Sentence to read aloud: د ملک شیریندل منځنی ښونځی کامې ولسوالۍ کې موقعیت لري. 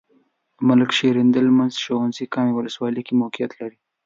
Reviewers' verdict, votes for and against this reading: accepted, 2, 0